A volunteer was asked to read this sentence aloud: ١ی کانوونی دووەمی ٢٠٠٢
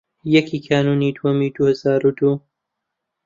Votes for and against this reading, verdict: 0, 2, rejected